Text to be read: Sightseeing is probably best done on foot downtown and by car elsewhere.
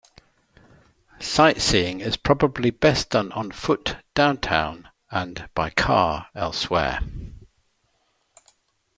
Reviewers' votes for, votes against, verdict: 2, 0, accepted